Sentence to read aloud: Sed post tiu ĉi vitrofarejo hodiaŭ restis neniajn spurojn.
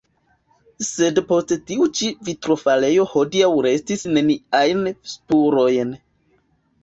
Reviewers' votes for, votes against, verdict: 1, 2, rejected